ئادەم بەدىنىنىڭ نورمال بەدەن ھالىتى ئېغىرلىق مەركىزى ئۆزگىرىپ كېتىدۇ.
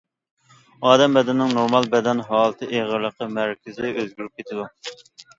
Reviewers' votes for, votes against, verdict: 0, 2, rejected